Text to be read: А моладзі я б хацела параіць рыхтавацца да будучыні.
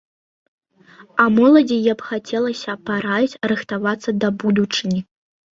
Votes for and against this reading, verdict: 0, 2, rejected